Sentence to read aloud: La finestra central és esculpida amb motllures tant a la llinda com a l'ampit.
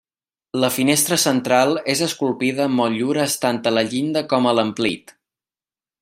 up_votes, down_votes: 1, 2